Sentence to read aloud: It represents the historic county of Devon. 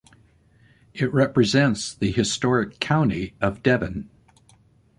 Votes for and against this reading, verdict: 2, 0, accepted